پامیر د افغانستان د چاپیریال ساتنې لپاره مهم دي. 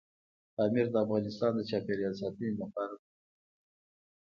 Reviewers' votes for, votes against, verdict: 2, 0, accepted